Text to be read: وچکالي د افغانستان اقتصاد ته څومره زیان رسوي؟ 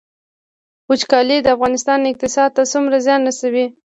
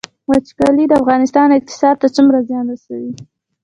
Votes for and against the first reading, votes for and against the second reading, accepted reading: 2, 0, 0, 2, first